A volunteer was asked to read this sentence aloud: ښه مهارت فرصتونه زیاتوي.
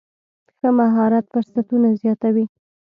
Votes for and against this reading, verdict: 2, 0, accepted